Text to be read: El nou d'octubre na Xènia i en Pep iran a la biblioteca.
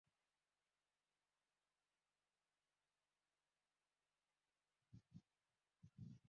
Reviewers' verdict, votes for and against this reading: rejected, 0, 2